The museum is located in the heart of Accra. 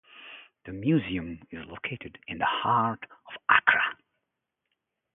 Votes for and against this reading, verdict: 0, 2, rejected